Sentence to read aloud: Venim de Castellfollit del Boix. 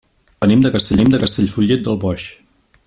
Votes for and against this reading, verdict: 0, 2, rejected